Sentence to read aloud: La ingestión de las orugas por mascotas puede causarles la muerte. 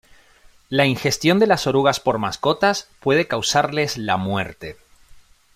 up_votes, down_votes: 2, 0